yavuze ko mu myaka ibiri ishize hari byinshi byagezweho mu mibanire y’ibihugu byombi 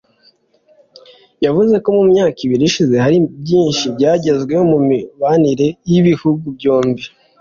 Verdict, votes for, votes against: accepted, 2, 0